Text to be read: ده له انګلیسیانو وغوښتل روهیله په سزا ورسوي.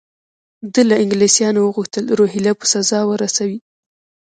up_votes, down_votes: 1, 3